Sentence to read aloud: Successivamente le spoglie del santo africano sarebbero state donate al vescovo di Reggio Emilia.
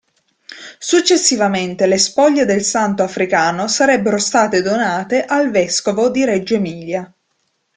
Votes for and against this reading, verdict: 2, 0, accepted